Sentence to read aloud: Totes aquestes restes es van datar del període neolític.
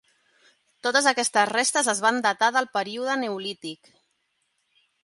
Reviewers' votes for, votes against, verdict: 3, 0, accepted